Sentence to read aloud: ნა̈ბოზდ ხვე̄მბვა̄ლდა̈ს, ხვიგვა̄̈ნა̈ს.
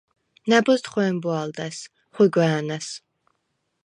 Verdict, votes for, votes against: accepted, 4, 0